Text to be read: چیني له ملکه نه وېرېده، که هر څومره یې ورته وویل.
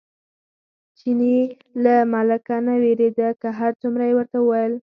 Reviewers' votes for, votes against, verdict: 0, 4, rejected